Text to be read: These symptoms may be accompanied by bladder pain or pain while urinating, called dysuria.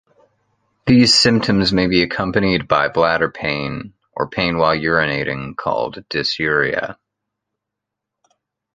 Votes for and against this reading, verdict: 2, 1, accepted